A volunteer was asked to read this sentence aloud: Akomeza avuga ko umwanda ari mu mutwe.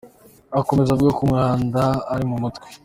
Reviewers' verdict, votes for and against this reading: accepted, 2, 0